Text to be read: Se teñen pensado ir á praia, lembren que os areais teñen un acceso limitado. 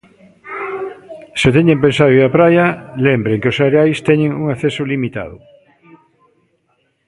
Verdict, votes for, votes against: rejected, 0, 2